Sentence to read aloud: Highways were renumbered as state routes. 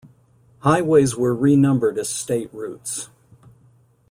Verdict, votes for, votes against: accepted, 2, 0